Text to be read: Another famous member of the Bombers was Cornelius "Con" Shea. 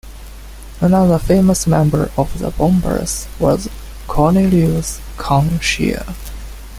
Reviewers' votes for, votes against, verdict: 2, 0, accepted